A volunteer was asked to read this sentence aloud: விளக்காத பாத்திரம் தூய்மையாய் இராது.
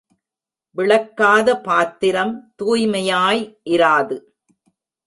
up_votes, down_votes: 2, 0